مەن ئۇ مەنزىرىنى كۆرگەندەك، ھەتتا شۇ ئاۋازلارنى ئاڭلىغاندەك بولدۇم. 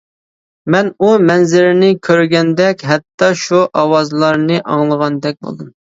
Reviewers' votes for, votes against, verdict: 2, 0, accepted